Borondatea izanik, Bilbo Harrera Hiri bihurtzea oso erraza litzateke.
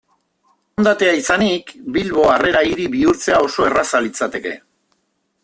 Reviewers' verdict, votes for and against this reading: rejected, 0, 2